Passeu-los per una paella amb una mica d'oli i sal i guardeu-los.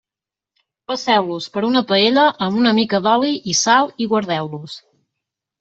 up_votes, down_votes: 3, 0